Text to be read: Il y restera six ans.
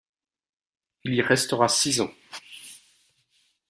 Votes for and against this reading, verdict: 1, 2, rejected